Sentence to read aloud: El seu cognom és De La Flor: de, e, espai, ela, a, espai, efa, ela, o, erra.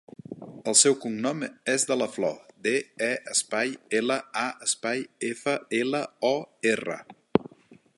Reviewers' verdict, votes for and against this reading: accepted, 3, 0